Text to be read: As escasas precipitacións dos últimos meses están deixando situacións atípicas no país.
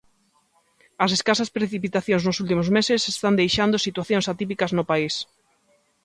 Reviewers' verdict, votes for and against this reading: accepted, 2, 0